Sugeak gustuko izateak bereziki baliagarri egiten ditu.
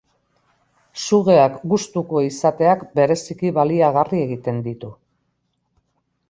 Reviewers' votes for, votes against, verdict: 2, 0, accepted